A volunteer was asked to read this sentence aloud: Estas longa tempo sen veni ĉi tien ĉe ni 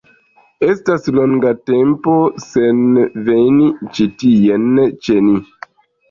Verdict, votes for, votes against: rejected, 1, 2